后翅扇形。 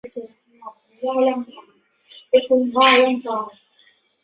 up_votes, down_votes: 0, 2